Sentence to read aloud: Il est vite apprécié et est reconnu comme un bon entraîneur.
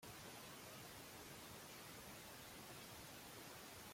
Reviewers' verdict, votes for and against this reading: rejected, 0, 2